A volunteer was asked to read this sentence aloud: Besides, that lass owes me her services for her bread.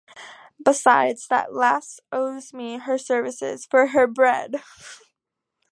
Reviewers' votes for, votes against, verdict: 2, 0, accepted